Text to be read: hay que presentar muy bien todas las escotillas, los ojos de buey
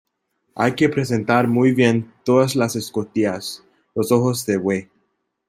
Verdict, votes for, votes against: accepted, 2, 0